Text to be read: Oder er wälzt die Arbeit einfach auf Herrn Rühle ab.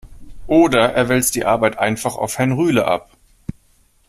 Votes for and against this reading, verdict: 2, 0, accepted